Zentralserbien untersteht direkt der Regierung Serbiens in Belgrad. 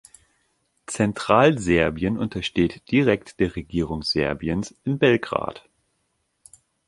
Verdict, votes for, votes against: accepted, 3, 0